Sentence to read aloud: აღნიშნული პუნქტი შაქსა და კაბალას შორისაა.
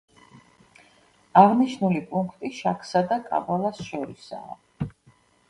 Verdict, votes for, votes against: accepted, 2, 0